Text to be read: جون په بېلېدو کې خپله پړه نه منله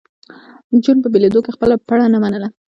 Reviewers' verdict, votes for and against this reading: rejected, 1, 2